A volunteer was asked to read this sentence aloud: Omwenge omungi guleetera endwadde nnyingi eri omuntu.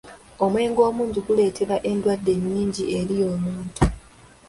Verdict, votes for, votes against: accepted, 3, 0